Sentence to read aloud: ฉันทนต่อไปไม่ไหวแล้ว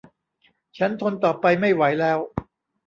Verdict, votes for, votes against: rejected, 1, 2